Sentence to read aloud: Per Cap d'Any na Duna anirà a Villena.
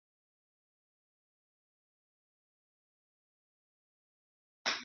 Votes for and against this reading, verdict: 1, 2, rejected